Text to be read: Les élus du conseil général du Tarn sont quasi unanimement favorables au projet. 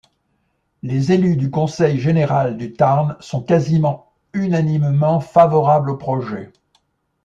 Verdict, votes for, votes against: rejected, 0, 2